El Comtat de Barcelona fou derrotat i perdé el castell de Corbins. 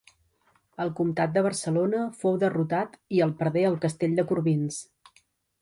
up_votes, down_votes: 0, 2